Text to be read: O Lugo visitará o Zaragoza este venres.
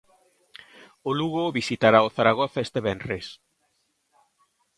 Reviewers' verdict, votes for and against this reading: accepted, 2, 0